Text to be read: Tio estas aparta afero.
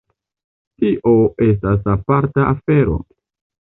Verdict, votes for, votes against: accepted, 2, 0